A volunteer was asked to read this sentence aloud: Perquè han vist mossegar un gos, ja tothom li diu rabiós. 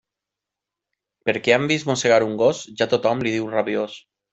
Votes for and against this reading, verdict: 3, 0, accepted